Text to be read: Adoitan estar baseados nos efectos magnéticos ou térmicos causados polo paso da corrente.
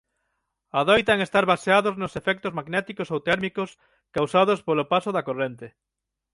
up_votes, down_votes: 6, 0